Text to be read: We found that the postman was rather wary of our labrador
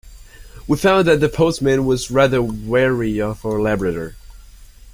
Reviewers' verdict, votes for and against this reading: accepted, 2, 0